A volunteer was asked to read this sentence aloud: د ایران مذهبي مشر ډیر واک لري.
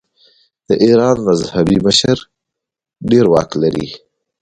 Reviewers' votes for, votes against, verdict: 1, 2, rejected